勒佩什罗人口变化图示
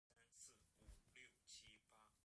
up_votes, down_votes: 1, 5